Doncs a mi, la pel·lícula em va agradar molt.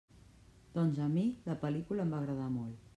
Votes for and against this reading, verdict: 0, 2, rejected